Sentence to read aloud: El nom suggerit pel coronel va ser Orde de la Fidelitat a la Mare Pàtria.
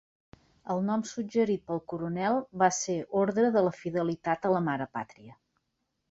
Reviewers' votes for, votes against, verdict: 1, 2, rejected